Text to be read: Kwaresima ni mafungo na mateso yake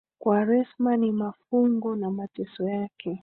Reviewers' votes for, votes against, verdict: 2, 3, rejected